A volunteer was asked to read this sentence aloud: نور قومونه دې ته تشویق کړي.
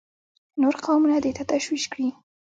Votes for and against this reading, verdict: 2, 0, accepted